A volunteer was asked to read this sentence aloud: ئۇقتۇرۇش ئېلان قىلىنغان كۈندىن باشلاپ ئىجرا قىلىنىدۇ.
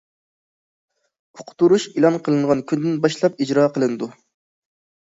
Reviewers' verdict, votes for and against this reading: accepted, 2, 0